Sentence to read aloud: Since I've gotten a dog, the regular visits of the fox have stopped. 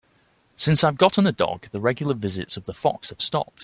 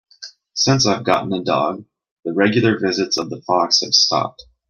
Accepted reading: first